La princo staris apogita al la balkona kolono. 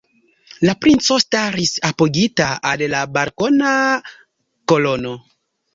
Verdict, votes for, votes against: accepted, 2, 0